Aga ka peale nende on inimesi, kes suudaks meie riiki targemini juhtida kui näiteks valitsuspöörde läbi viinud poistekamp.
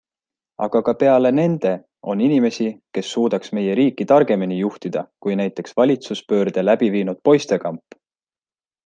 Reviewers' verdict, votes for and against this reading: accepted, 2, 0